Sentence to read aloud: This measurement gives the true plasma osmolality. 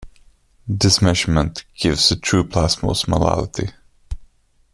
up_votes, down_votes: 1, 2